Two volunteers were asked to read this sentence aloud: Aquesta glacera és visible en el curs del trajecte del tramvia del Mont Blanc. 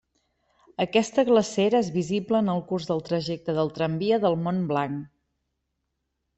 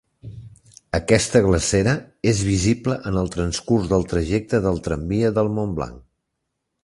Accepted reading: first